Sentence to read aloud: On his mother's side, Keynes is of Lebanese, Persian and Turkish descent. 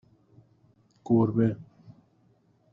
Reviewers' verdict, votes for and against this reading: rejected, 0, 2